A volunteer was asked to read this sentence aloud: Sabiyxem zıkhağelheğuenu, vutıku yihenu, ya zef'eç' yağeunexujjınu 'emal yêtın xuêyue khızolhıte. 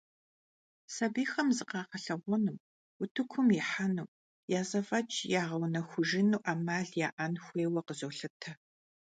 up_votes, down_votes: 1, 2